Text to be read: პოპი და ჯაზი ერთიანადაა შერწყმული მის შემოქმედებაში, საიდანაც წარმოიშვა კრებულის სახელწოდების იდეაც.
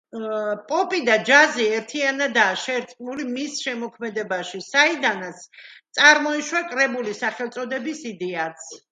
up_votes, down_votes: 2, 0